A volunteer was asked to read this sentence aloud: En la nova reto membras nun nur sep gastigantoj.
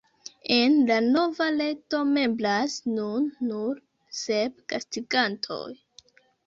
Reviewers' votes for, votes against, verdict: 2, 1, accepted